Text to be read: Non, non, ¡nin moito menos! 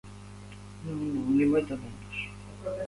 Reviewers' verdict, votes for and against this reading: rejected, 1, 2